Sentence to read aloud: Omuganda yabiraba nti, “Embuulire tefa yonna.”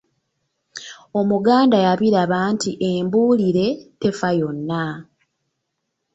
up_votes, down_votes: 1, 2